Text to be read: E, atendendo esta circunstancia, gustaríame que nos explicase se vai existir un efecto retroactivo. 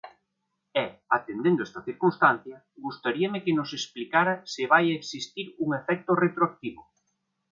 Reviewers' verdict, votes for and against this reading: rejected, 0, 2